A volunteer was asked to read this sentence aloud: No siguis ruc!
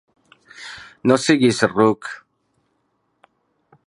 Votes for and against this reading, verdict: 3, 0, accepted